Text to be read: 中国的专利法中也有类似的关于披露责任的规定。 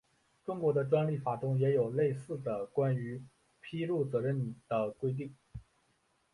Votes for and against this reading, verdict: 2, 1, accepted